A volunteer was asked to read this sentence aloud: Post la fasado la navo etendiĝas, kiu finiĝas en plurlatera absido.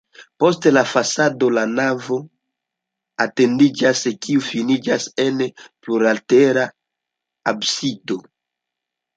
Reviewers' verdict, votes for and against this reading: rejected, 1, 2